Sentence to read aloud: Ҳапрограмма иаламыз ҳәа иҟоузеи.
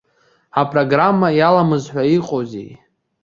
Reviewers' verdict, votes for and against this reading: accepted, 2, 1